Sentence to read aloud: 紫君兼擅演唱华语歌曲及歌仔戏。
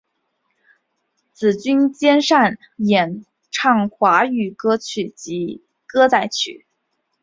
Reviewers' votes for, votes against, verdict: 2, 1, accepted